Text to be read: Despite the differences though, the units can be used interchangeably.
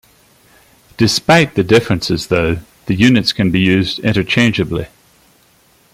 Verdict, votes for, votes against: accepted, 2, 0